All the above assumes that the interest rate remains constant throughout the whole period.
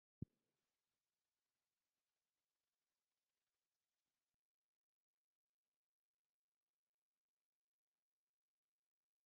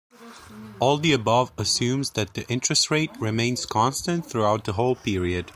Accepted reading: second